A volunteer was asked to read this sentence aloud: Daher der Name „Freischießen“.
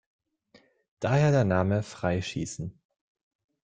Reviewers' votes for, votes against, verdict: 2, 0, accepted